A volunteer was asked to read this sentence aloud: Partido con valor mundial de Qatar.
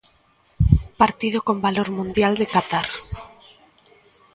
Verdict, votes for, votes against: accepted, 2, 0